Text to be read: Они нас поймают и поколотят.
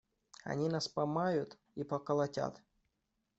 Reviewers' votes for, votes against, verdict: 0, 2, rejected